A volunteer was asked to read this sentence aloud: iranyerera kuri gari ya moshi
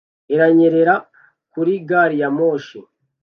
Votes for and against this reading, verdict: 2, 0, accepted